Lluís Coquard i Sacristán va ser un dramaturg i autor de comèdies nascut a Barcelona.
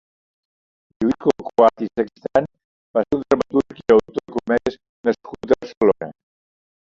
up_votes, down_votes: 1, 2